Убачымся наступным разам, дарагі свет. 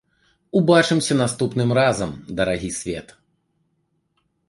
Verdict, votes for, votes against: accepted, 2, 0